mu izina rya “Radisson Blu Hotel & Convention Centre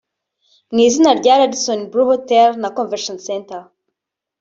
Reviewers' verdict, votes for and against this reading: rejected, 1, 2